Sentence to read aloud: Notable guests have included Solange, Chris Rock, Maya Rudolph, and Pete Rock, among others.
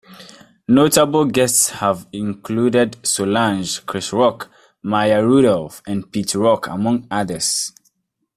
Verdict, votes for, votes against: accepted, 2, 0